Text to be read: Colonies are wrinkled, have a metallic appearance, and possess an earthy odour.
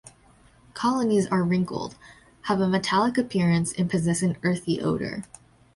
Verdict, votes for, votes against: accepted, 2, 0